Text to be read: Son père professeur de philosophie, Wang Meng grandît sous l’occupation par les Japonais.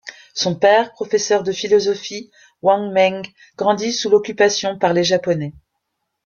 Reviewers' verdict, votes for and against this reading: accepted, 2, 0